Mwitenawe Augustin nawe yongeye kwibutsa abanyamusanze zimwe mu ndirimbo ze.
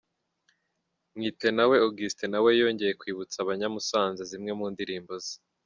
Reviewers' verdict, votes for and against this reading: accepted, 2, 0